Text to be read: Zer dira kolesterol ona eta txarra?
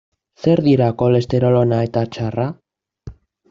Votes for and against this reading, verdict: 2, 0, accepted